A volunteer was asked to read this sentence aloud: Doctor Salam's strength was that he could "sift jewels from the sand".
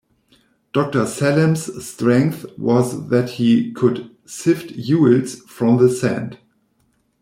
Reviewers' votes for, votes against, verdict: 1, 2, rejected